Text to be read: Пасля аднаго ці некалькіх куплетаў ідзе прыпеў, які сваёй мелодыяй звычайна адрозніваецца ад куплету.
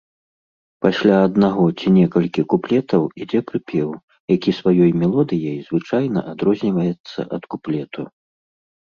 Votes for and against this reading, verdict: 0, 2, rejected